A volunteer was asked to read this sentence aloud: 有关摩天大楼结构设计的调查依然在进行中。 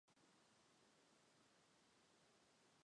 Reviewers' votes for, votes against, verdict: 0, 3, rejected